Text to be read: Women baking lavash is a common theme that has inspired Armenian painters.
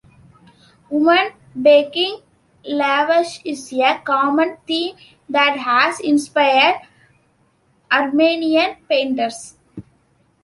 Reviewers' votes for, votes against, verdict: 1, 2, rejected